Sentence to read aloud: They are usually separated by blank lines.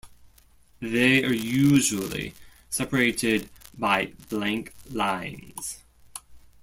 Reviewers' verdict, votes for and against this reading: accepted, 2, 0